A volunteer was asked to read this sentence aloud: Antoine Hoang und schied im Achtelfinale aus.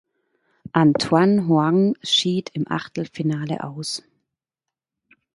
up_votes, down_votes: 2, 1